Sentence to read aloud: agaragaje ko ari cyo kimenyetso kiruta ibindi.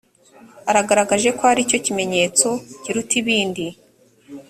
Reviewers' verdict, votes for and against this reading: rejected, 1, 2